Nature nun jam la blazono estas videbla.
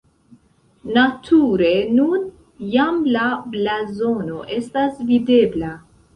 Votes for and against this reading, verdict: 2, 1, accepted